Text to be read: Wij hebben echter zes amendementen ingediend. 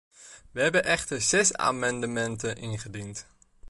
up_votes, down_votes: 2, 0